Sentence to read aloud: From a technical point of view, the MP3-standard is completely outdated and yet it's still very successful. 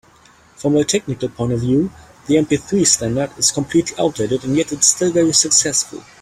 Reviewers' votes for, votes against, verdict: 0, 2, rejected